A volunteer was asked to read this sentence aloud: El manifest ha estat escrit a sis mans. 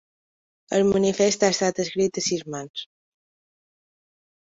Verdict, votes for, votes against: accepted, 2, 0